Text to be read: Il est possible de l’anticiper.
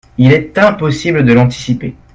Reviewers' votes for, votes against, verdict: 1, 2, rejected